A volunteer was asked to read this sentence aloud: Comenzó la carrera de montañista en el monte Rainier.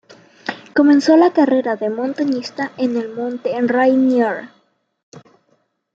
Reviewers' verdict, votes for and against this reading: accepted, 2, 0